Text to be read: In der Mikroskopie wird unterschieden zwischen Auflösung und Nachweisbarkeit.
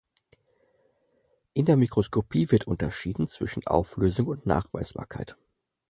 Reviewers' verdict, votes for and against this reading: accepted, 4, 0